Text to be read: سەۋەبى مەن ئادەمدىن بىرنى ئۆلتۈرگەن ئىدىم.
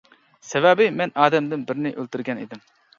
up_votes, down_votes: 2, 0